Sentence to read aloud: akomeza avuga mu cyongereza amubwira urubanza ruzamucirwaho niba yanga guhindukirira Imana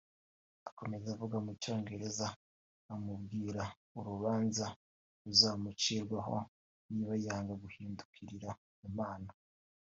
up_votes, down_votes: 1, 2